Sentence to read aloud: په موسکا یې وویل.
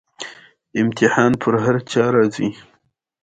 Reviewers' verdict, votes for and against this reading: accepted, 2, 0